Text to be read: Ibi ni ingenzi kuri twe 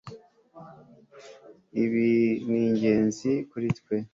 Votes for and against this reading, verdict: 2, 0, accepted